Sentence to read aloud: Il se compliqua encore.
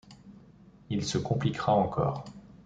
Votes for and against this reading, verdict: 0, 2, rejected